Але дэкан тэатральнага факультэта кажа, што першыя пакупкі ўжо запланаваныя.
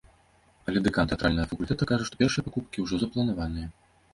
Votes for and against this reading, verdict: 0, 2, rejected